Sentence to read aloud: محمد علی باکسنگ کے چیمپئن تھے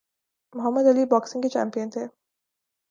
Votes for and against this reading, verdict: 2, 0, accepted